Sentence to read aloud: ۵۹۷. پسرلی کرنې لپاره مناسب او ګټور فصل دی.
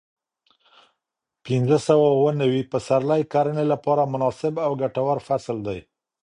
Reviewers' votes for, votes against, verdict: 0, 2, rejected